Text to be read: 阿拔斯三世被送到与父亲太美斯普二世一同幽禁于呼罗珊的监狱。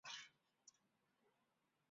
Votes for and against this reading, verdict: 0, 3, rejected